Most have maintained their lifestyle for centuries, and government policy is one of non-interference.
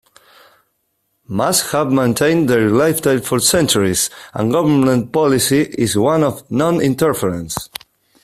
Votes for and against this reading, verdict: 0, 2, rejected